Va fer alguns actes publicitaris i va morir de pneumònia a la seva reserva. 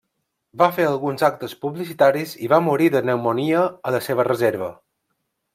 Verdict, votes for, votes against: rejected, 1, 2